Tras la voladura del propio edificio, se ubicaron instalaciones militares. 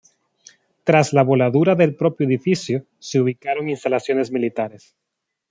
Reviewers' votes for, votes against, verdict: 2, 0, accepted